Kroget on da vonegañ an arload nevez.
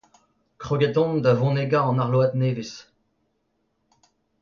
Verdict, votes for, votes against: accepted, 2, 1